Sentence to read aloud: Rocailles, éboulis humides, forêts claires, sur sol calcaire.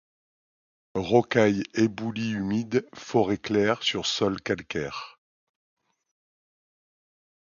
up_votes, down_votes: 2, 0